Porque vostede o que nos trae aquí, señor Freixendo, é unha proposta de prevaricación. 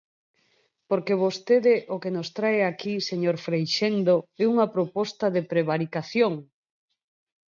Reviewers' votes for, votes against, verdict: 4, 0, accepted